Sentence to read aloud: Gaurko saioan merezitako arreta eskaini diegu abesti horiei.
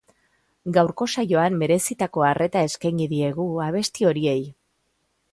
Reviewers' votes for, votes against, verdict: 2, 0, accepted